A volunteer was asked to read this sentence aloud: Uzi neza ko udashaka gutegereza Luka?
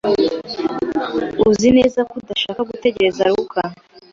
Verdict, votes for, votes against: accepted, 2, 0